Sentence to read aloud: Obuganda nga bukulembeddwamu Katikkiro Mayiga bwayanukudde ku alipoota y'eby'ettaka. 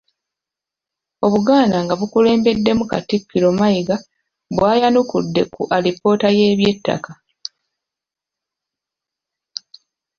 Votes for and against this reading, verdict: 1, 2, rejected